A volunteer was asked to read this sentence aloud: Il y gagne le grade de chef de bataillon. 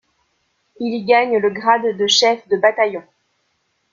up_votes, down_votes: 2, 0